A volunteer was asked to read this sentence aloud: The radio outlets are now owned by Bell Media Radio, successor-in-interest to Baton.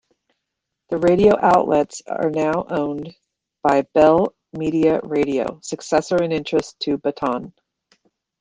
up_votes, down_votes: 1, 2